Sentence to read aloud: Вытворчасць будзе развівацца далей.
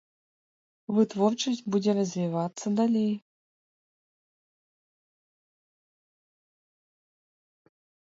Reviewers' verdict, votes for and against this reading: accepted, 2, 0